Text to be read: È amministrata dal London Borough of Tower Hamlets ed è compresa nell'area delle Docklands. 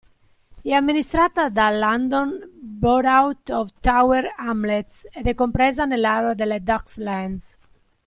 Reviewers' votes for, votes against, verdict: 0, 2, rejected